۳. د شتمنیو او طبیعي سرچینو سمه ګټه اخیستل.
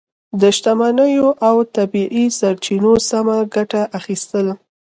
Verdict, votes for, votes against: rejected, 0, 2